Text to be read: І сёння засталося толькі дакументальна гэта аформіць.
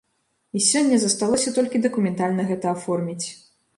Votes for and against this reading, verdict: 2, 0, accepted